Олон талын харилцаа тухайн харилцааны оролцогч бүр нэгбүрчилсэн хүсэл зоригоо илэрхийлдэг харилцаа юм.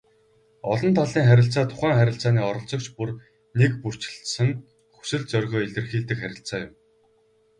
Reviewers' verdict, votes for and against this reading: rejected, 2, 4